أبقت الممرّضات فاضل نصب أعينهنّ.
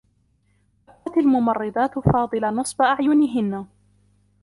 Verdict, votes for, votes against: rejected, 0, 2